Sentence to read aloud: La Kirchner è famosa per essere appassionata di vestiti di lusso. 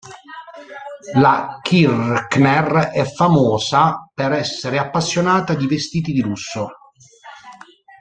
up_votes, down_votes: 1, 2